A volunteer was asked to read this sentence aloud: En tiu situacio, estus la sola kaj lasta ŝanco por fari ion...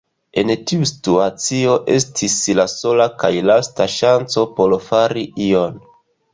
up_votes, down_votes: 1, 2